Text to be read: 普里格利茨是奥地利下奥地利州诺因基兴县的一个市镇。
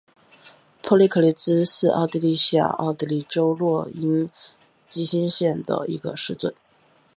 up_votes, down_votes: 2, 3